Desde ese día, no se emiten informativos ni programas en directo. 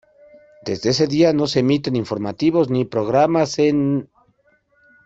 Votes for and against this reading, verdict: 1, 2, rejected